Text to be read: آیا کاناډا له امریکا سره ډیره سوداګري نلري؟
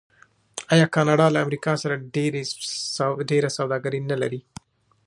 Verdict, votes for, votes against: rejected, 1, 2